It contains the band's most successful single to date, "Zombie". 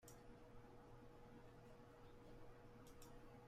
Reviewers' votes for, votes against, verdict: 0, 2, rejected